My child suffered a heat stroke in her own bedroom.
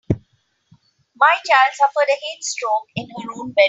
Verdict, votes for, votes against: rejected, 0, 2